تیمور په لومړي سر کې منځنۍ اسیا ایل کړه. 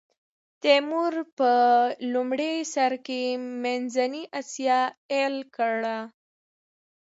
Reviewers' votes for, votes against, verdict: 2, 0, accepted